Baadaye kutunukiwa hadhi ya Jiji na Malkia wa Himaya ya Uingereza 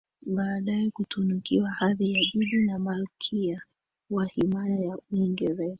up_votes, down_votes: 1, 2